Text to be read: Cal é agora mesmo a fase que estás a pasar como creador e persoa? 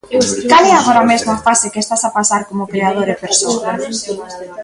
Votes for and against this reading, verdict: 0, 2, rejected